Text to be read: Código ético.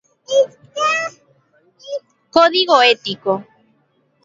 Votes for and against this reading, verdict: 0, 2, rejected